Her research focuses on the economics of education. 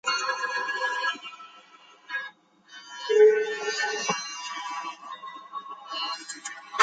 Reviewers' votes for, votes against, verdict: 0, 2, rejected